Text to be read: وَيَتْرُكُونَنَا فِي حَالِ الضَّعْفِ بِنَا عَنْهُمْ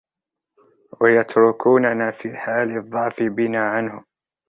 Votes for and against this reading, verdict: 0, 2, rejected